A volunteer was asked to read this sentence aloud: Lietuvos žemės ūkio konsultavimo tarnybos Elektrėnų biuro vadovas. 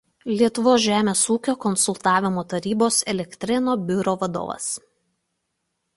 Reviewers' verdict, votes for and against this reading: rejected, 1, 2